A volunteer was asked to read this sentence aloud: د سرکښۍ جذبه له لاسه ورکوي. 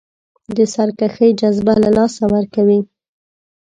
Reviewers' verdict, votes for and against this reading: rejected, 1, 2